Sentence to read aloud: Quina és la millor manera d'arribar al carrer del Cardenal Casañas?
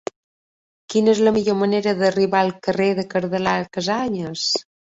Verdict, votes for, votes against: accepted, 2, 1